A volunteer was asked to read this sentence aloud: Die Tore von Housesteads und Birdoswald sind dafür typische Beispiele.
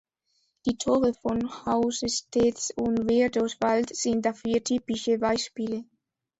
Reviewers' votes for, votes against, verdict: 2, 0, accepted